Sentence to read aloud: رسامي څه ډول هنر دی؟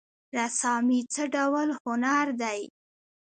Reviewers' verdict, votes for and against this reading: rejected, 1, 2